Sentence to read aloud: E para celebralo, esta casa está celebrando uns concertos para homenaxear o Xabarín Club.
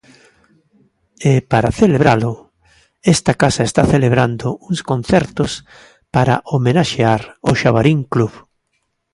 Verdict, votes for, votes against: accepted, 2, 0